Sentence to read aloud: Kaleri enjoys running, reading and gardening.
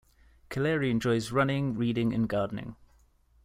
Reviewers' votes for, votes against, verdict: 2, 0, accepted